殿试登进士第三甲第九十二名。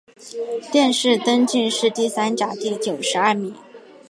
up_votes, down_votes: 3, 0